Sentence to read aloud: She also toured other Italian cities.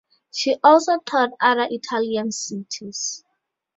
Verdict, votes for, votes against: rejected, 2, 2